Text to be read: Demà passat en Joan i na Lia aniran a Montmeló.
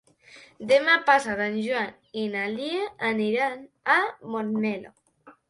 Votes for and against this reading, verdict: 2, 1, accepted